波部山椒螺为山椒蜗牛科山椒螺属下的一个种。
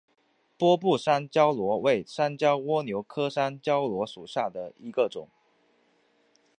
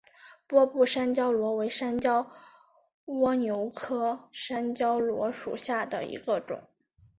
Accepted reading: second